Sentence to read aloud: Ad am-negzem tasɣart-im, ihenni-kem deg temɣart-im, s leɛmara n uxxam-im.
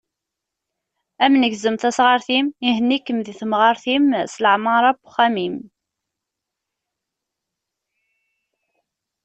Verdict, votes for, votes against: accepted, 2, 0